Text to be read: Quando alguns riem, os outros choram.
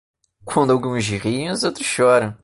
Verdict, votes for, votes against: rejected, 1, 2